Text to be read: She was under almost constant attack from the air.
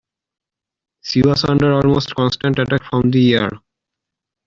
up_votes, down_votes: 2, 0